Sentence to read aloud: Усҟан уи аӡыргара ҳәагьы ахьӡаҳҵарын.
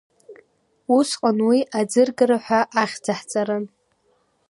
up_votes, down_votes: 2, 0